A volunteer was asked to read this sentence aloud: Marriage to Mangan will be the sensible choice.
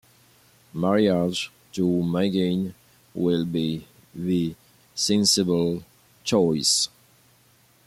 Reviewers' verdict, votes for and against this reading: accepted, 2, 1